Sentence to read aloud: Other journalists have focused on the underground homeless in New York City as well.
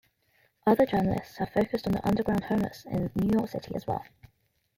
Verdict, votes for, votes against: accepted, 2, 1